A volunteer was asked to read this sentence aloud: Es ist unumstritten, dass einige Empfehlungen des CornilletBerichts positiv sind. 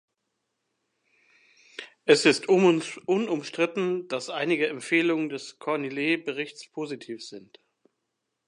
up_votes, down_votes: 0, 2